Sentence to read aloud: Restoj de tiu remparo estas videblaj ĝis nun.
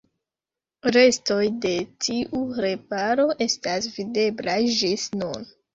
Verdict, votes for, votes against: rejected, 1, 2